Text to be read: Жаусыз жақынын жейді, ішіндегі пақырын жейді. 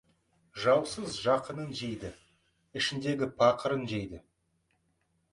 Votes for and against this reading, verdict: 3, 0, accepted